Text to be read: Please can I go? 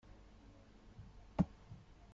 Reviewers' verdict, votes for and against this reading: rejected, 0, 2